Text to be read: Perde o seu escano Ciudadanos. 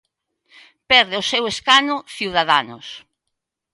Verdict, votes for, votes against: accepted, 2, 0